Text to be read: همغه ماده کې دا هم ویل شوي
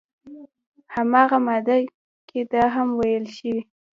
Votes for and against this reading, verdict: 1, 2, rejected